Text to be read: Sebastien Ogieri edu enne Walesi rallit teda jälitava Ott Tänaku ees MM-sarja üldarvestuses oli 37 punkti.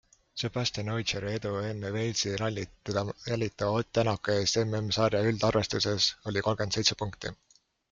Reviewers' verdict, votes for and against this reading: rejected, 0, 2